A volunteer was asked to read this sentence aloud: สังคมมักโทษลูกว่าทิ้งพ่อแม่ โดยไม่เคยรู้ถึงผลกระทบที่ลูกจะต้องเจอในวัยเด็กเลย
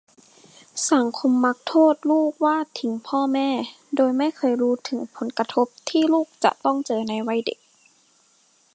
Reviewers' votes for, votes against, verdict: 0, 2, rejected